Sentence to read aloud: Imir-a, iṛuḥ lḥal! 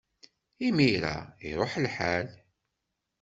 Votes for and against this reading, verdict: 2, 0, accepted